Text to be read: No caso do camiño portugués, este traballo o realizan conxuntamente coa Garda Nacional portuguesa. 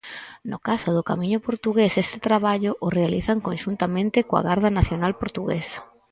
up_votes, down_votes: 4, 0